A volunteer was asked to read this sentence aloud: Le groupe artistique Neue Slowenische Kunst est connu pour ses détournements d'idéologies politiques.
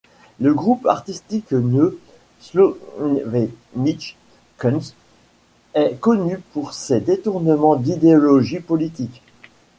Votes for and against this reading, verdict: 1, 2, rejected